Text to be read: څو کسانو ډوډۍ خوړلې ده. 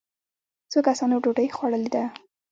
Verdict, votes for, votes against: rejected, 0, 2